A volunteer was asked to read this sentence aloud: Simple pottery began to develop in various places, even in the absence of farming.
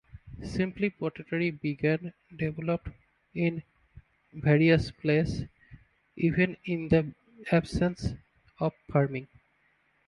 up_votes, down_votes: 0, 2